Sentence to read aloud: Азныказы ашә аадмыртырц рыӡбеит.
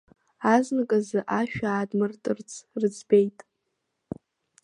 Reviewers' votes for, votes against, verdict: 2, 1, accepted